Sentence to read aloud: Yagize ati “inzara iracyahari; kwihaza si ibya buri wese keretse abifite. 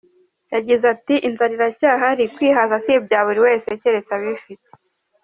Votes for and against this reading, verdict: 2, 0, accepted